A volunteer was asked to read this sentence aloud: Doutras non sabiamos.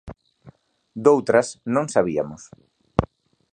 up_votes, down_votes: 1, 3